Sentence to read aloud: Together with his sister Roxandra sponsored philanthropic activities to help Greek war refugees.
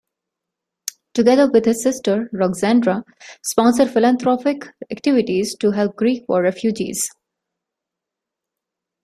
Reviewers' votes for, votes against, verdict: 2, 0, accepted